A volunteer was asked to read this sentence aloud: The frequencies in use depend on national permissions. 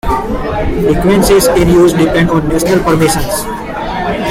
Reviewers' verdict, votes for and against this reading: rejected, 1, 2